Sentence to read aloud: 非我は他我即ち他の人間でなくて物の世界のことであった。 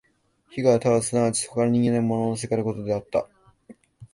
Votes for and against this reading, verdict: 1, 2, rejected